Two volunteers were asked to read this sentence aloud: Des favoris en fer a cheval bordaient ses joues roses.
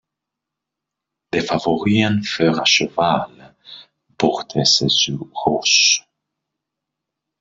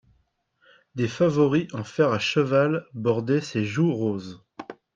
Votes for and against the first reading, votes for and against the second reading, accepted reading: 0, 2, 2, 1, second